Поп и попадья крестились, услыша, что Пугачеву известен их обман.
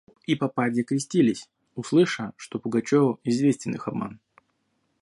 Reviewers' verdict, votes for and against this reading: rejected, 0, 2